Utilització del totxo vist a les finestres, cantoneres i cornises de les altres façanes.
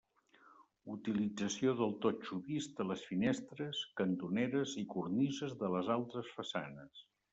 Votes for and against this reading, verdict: 3, 0, accepted